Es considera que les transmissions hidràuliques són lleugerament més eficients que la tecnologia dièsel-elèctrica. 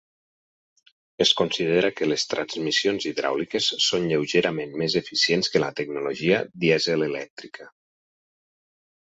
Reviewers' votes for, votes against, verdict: 6, 0, accepted